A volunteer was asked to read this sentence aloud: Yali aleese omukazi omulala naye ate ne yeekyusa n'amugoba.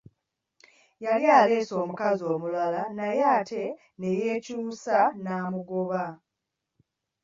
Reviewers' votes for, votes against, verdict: 2, 0, accepted